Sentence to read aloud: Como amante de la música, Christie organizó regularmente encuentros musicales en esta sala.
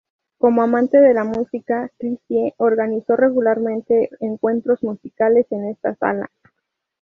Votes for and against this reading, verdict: 2, 0, accepted